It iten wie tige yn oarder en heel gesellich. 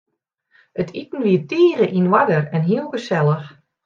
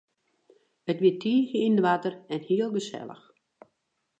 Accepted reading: first